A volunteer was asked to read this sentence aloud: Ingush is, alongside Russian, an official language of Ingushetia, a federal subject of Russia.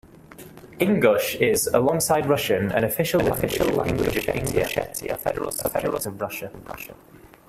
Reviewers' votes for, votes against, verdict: 0, 2, rejected